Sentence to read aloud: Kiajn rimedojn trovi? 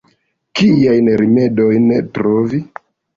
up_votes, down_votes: 2, 0